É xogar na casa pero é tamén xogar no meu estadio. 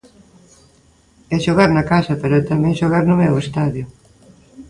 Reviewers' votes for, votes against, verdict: 3, 0, accepted